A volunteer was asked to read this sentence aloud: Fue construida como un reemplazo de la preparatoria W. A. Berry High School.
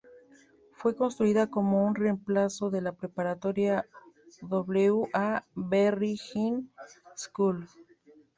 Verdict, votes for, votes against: rejected, 1, 2